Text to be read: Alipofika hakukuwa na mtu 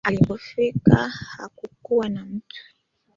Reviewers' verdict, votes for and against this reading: accepted, 2, 1